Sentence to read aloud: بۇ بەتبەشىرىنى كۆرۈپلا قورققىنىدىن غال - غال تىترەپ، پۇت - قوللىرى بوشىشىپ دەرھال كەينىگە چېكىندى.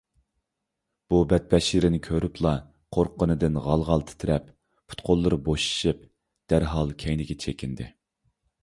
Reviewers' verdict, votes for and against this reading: accepted, 2, 0